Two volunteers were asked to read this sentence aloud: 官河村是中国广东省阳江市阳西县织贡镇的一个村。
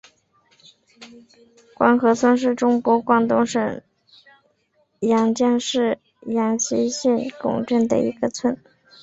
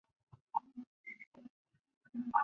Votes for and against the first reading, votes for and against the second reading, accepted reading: 3, 0, 0, 2, first